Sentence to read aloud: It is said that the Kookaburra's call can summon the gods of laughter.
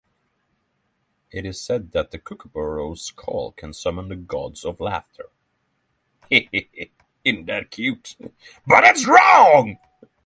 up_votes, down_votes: 0, 3